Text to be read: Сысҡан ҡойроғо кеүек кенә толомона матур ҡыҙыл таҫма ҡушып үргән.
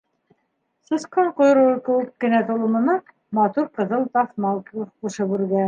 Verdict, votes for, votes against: rejected, 0, 3